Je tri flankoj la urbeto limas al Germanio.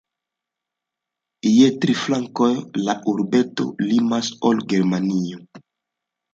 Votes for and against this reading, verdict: 2, 1, accepted